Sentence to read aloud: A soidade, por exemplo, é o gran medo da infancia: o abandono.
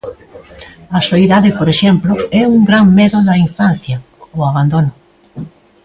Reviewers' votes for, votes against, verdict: 2, 1, accepted